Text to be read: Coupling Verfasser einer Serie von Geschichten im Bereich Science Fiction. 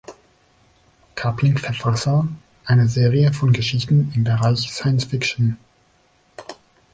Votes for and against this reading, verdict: 1, 2, rejected